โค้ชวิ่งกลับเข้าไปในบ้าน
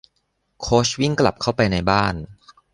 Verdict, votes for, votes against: accepted, 2, 0